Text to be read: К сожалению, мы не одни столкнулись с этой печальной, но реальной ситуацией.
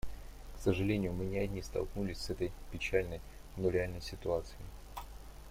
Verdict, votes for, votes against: accepted, 2, 0